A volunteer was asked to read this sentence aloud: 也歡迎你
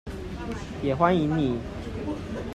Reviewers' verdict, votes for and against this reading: accepted, 2, 0